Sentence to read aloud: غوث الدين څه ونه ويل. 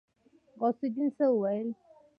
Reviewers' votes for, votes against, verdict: 1, 2, rejected